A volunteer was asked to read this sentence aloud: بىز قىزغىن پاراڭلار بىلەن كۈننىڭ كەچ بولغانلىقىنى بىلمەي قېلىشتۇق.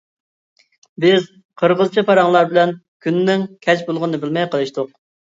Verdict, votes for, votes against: rejected, 0, 2